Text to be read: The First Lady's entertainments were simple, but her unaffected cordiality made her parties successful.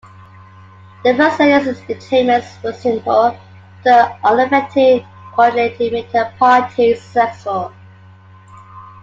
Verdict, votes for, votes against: rejected, 1, 2